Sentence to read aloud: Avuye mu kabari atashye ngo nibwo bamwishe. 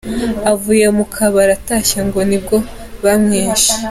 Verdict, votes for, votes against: accepted, 2, 0